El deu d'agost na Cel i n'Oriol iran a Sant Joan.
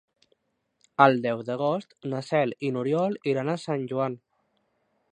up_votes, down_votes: 3, 0